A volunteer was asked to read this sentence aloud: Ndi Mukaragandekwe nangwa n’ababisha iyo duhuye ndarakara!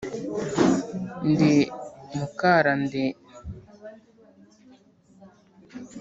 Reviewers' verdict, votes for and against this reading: rejected, 1, 2